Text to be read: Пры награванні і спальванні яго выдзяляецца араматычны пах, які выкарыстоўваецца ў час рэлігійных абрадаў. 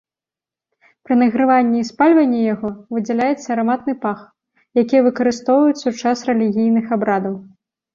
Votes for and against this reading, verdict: 1, 2, rejected